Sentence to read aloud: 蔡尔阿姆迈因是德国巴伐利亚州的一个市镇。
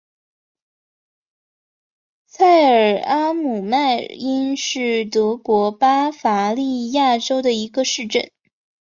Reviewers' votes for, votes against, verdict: 2, 0, accepted